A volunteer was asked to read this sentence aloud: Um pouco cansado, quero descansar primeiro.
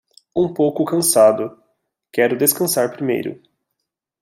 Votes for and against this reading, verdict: 2, 0, accepted